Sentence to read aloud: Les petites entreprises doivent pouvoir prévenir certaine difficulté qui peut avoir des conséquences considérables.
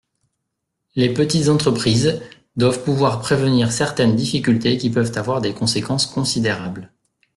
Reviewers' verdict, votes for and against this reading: rejected, 0, 2